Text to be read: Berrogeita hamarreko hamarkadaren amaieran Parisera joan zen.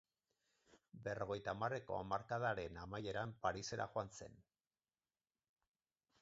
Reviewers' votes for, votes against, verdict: 2, 16, rejected